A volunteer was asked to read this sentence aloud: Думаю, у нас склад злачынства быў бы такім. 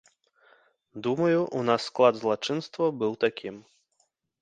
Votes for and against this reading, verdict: 0, 2, rejected